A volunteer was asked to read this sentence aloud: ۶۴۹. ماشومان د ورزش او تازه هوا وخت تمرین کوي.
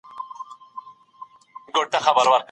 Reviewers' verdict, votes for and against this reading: rejected, 0, 2